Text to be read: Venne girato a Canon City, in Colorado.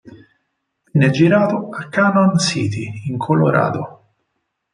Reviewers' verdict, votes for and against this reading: accepted, 4, 0